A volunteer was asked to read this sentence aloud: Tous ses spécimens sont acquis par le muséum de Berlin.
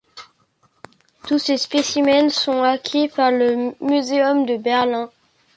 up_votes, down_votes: 2, 0